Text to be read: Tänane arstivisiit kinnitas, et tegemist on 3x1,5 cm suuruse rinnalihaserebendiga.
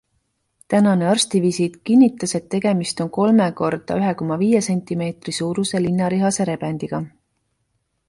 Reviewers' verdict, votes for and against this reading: rejected, 0, 2